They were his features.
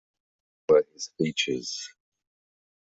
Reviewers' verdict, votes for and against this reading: rejected, 0, 2